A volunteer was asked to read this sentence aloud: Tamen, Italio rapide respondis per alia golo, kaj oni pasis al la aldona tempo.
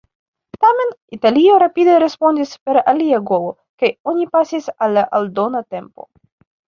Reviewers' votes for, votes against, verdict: 1, 2, rejected